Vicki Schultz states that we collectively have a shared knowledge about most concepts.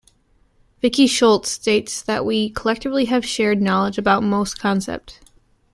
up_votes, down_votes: 2, 3